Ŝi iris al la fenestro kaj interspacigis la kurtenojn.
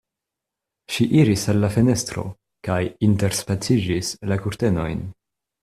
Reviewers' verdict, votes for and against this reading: rejected, 0, 2